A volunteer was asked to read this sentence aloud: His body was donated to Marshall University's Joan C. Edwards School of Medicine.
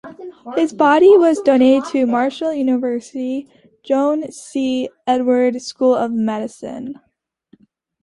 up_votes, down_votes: 2, 0